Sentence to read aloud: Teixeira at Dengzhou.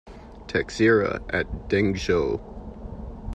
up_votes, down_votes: 1, 2